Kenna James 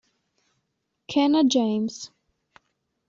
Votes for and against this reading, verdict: 2, 0, accepted